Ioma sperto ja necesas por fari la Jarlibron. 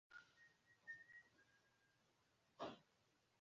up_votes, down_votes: 0, 2